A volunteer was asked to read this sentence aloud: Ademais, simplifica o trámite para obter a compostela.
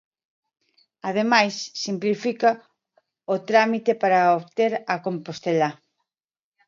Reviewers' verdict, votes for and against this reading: rejected, 0, 2